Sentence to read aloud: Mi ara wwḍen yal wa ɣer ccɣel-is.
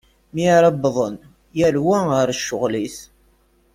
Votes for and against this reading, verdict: 2, 0, accepted